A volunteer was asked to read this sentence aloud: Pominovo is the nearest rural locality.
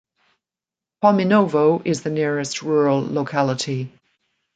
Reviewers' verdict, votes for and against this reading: rejected, 1, 2